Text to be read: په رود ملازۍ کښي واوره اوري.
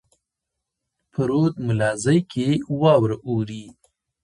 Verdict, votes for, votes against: accepted, 2, 0